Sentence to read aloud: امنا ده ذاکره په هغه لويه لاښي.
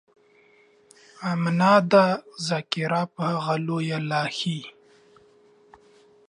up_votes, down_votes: 2, 1